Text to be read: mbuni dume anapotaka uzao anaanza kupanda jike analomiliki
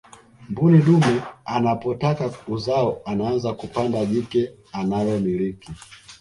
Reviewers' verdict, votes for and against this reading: accepted, 2, 0